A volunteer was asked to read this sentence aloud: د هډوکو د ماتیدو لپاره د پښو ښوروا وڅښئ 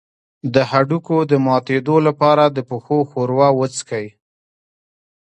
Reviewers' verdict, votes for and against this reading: rejected, 1, 2